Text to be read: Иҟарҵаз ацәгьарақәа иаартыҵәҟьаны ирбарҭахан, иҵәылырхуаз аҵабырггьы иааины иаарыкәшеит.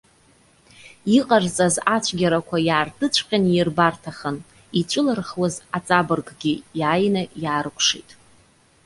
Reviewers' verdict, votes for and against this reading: accepted, 2, 0